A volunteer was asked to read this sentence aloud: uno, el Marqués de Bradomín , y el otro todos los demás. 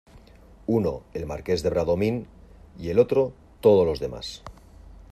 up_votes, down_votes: 2, 0